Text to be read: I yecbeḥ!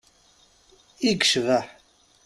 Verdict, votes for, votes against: accepted, 2, 0